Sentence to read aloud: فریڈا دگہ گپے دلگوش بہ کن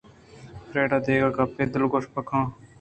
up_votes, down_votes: 2, 1